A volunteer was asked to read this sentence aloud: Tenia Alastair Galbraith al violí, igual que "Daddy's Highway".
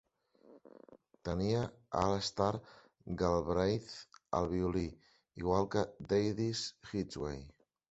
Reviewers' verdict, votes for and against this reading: rejected, 1, 2